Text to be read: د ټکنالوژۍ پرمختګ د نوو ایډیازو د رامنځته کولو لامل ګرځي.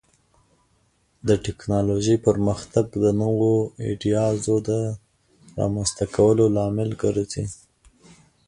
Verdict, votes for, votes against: rejected, 0, 2